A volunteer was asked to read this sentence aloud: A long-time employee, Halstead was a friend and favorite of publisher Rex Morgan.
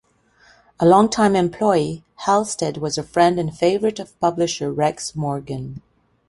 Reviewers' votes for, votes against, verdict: 2, 0, accepted